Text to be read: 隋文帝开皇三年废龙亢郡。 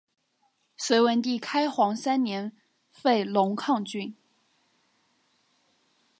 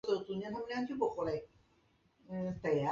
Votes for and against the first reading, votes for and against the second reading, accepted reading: 4, 2, 0, 2, first